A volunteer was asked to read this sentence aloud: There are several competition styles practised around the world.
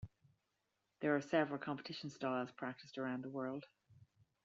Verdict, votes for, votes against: accepted, 2, 0